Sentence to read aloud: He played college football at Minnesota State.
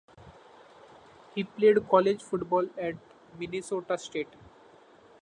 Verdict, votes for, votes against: accepted, 2, 0